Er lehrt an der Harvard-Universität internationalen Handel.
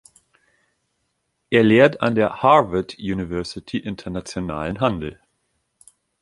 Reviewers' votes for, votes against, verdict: 1, 2, rejected